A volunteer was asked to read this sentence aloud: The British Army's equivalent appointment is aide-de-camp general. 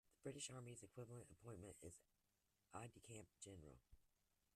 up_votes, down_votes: 1, 2